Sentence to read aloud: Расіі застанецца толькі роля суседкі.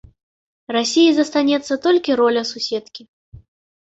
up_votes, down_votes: 2, 0